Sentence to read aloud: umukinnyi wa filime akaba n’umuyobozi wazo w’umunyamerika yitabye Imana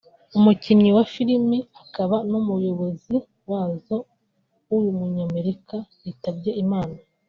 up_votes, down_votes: 3, 0